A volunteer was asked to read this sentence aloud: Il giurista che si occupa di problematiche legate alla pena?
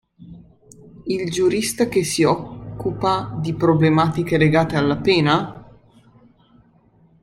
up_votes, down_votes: 2, 0